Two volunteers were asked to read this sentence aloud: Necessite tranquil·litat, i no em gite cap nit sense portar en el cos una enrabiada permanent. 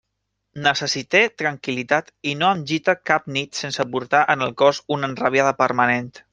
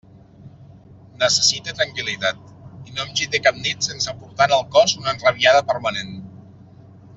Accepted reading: second